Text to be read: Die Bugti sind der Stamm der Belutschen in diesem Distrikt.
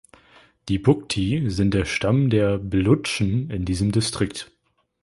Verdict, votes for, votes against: accepted, 3, 0